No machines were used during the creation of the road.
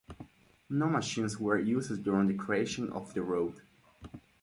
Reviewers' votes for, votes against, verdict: 4, 0, accepted